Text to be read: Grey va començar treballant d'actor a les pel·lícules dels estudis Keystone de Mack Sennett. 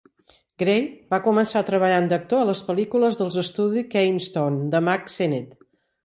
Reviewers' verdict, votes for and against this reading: rejected, 1, 3